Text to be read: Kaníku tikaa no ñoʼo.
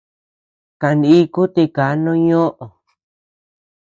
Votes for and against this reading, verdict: 1, 2, rejected